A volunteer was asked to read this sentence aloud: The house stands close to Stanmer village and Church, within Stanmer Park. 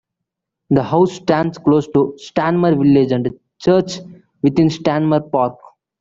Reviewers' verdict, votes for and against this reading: accepted, 2, 0